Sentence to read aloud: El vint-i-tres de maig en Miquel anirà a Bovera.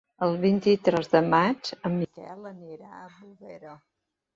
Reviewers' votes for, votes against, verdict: 0, 2, rejected